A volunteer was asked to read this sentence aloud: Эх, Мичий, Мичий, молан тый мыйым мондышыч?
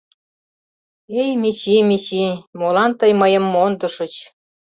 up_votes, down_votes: 0, 2